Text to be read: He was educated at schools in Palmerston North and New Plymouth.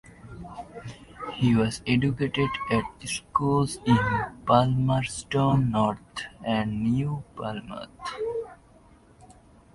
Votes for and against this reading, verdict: 0, 2, rejected